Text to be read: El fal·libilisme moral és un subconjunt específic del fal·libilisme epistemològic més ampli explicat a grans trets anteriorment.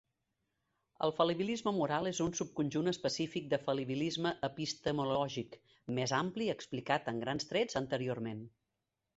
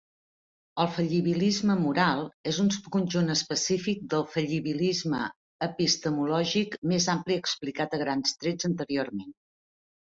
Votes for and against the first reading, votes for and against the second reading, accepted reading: 2, 0, 0, 2, first